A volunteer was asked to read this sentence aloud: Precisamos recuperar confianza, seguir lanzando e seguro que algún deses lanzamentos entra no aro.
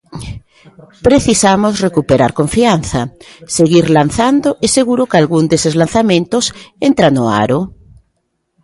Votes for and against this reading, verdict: 2, 0, accepted